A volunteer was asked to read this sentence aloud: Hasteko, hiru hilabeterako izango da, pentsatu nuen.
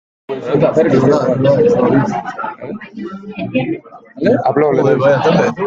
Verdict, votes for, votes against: rejected, 0, 2